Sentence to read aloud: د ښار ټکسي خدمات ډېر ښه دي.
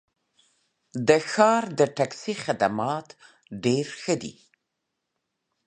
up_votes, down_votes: 1, 2